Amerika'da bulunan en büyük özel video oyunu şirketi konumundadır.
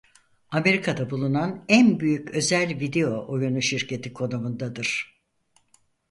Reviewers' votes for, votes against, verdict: 4, 0, accepted